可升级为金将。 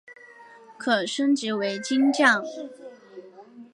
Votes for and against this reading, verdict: 2, 0, accepted